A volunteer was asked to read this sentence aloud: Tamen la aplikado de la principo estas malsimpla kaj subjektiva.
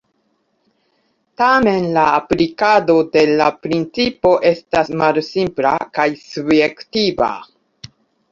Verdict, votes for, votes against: accepted, 2, 1